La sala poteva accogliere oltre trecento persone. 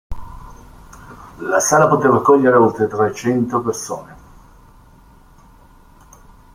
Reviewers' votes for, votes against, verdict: 0, 2, rejected